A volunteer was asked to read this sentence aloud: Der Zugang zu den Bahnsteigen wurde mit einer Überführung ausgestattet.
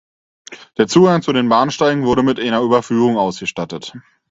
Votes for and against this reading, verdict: 4, 0, accepted